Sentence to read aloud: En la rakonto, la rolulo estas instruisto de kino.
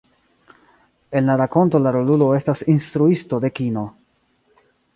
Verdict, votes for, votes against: accepted, 2, 1